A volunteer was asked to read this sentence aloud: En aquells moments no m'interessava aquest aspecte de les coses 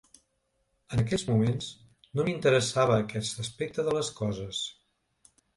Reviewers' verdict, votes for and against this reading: rejected, 1, 2